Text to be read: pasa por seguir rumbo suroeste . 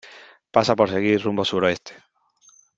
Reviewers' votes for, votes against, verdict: 3, 0, accepted